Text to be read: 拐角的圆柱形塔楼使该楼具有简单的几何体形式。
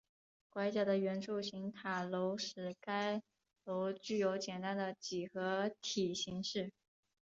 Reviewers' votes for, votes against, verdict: 3, 0, accepted